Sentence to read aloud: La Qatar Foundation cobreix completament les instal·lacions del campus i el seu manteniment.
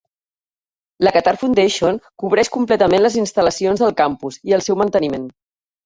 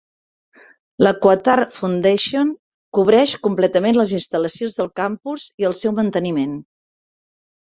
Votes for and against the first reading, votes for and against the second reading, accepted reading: 2, 0, 1, 3, first